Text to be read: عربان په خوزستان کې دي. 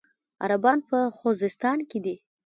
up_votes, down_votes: 1, 2